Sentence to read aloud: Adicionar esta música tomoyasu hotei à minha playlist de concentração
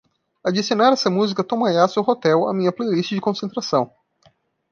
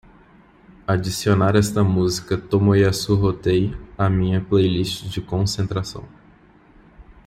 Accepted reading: second